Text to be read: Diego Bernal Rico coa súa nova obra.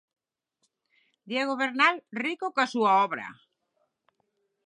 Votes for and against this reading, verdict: 0, 6, rejected